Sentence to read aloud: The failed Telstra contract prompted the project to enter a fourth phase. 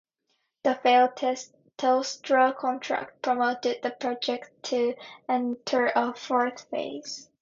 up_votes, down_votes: 0, 2